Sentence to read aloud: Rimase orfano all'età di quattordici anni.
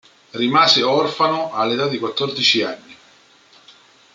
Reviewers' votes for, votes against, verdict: 2, 0, accepted